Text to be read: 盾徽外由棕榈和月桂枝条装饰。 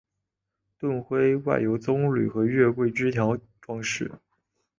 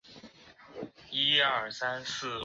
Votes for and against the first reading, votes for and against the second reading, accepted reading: 3, 1, 0, 3, first